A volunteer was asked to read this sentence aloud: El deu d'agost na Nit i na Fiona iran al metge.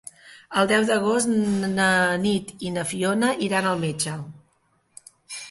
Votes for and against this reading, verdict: 0, 2, rejected